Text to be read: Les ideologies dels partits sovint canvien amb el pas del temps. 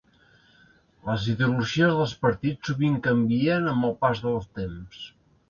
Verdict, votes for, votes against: accepted, 2, 0